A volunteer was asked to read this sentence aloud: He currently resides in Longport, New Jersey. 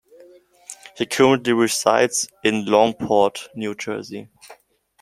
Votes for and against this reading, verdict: 1, 2, rejected